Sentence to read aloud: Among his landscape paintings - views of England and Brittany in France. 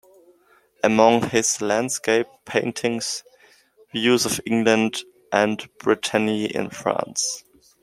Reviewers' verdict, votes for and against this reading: accepted, 2, 0